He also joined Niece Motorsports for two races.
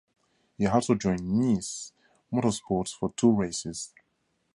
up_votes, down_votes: 2, 0